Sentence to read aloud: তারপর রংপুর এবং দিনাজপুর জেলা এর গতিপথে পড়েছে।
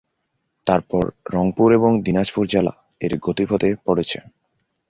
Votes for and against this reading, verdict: 2, 0, accepted